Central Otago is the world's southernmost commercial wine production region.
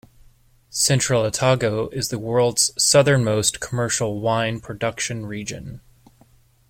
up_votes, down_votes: 2, 0